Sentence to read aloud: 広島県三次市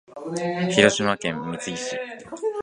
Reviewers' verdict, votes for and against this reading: accepted, 4, 1